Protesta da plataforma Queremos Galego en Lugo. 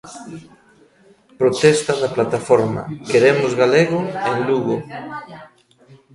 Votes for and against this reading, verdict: 1, 2, rejected